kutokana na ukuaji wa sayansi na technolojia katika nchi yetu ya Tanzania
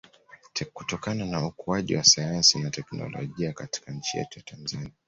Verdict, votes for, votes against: accepted, 2, 1